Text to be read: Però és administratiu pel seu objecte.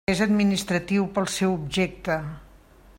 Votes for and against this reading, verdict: 0, 2, rejected